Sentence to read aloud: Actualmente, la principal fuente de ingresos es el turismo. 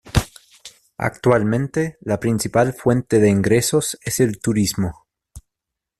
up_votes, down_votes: 2, 0